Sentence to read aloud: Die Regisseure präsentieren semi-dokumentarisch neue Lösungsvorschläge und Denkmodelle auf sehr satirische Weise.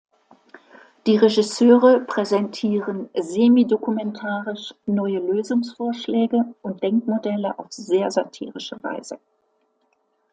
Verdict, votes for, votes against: accepted, 2, 0